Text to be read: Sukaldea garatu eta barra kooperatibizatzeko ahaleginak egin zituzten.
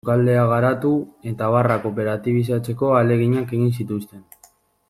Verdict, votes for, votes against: accepted, 2, 0